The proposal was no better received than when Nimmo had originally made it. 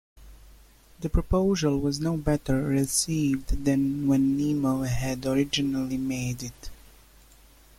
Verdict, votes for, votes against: accepted, 2, 0